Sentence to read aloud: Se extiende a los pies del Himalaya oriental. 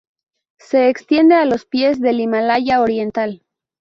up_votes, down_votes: 0, 2